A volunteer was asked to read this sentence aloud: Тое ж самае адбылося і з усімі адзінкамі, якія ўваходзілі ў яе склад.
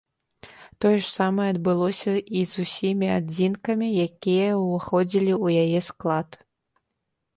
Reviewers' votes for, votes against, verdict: 2, 0, accepted